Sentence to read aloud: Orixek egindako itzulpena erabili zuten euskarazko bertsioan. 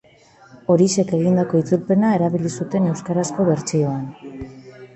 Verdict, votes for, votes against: accepted, 2, 0